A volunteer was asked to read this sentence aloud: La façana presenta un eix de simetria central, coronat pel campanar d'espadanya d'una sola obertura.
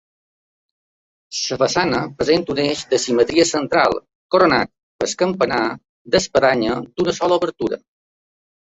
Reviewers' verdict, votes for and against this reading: rejected, 1, 2